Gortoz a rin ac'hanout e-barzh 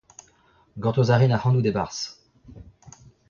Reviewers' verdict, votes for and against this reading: rejected, 0, 2